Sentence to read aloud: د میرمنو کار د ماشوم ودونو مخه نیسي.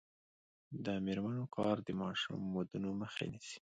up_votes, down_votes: 2, 1